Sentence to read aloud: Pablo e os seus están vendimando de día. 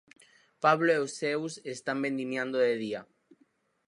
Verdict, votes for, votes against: rejected, 0, 4